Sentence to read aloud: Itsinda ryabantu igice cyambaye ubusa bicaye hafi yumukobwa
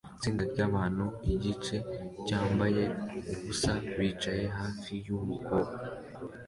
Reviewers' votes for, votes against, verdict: 2, 0, accepted